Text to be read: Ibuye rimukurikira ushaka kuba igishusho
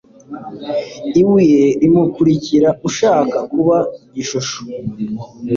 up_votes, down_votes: 2, 0